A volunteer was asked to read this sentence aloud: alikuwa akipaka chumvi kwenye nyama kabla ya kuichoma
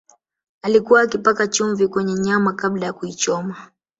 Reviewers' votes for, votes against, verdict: 1, 2, rejected